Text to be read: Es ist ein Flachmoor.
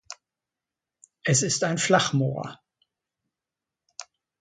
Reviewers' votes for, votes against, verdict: 2, 1, accepted